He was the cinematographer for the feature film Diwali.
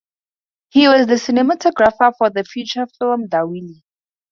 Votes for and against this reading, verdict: 2, 0, accepted